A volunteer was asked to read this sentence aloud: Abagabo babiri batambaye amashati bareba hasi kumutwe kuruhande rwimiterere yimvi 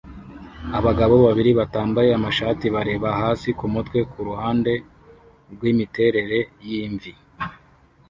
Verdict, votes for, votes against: accepted, 2, 0